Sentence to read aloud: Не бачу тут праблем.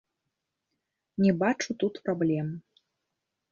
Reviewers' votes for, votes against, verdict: 1, 2, rejected